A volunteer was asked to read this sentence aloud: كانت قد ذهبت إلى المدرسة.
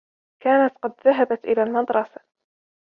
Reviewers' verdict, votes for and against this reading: rejected, 1, 2